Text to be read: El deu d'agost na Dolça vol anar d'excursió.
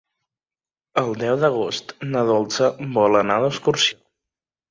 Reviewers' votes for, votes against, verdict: 3, 0, accepted